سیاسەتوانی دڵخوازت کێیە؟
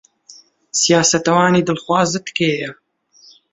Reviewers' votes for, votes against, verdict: 1, 2, rejected